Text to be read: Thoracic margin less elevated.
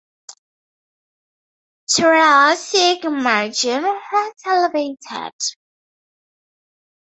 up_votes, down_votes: 0, 2